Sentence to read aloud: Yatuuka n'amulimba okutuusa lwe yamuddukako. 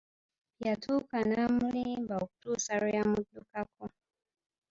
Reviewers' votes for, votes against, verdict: 2, 1, accepted